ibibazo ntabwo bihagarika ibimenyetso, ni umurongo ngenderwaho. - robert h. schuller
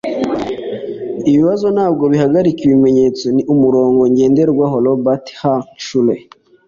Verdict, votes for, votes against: accepted, 2, 0